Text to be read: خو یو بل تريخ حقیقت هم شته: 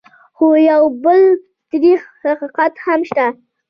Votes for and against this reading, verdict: 2, 1, accepted